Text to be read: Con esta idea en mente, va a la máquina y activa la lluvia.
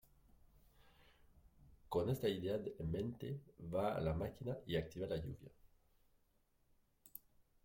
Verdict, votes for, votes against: rejected, 1, 2